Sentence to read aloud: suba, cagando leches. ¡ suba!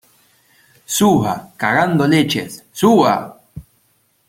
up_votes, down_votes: 2, 0